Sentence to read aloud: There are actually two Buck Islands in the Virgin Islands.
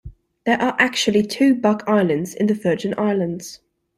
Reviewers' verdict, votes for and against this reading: accepted, 2, 0